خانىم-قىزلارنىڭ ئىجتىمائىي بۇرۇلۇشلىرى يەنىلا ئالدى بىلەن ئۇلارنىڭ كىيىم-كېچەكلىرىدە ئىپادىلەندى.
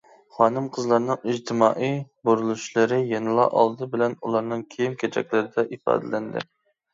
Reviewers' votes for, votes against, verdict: 2, 0, accepted